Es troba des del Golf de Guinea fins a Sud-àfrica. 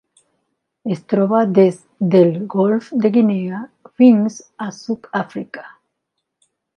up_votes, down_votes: 2, 1